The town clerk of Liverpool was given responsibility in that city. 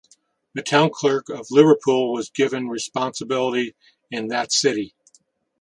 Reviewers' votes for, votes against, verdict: 2, 0, accepted